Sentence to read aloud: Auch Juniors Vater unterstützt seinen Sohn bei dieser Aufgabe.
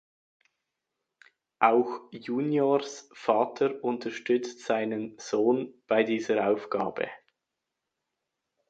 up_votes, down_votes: 2, 0